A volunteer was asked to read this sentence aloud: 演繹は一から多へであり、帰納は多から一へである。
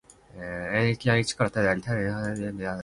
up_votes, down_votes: 1, 2